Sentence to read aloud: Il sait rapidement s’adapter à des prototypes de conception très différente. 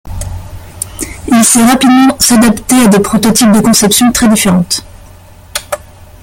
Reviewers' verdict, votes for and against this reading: rejected, 0, 2